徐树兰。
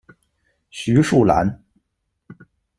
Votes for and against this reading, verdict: 2, 0, accepted